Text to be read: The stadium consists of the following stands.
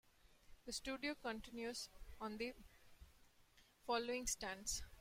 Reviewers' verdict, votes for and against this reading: rejected, 0, 2